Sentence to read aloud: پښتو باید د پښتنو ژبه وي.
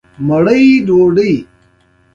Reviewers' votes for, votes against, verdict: 2, 1, accepted